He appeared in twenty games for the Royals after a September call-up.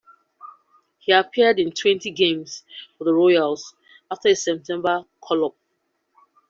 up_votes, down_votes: 2, 0